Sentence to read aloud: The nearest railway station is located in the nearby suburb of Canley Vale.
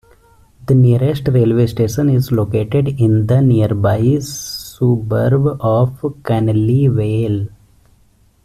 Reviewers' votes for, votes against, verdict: 1, 3, rejected